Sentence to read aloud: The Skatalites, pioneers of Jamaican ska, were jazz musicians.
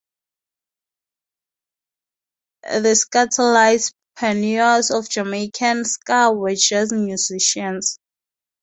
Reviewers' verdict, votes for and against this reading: rejected, 2, 2